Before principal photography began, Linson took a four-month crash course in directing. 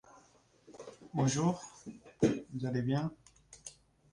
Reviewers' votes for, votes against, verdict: 0, 2, rejected